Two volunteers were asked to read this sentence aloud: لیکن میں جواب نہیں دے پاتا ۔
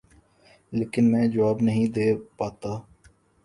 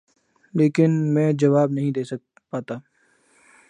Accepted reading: first